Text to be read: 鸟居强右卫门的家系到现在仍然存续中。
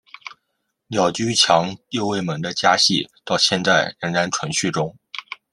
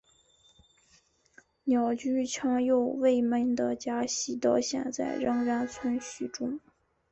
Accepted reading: first